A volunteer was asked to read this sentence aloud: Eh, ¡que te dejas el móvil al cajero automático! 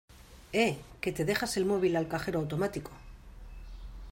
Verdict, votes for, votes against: accepted, 2, 0